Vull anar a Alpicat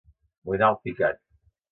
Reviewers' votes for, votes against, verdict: 0, 2, rejected